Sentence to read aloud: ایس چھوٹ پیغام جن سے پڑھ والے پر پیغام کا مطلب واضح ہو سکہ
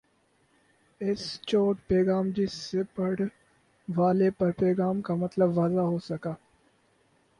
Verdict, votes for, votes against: accepted, 4, 0